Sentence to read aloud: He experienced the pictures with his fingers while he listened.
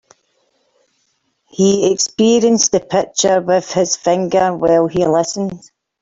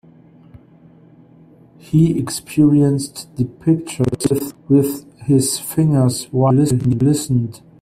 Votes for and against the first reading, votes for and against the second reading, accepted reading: 2, 1, 2, 14, first